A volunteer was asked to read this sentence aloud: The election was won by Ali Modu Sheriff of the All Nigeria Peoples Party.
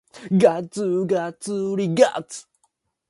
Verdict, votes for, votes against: rejected, 0, 2